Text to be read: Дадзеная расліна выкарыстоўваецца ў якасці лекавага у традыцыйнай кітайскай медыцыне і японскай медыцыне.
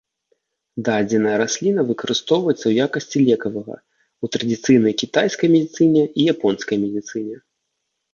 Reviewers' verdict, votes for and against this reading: rejected, 1, 2